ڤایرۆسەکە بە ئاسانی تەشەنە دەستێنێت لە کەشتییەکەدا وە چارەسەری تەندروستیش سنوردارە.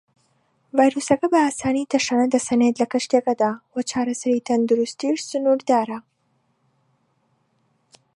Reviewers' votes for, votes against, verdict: 0, 2, rejected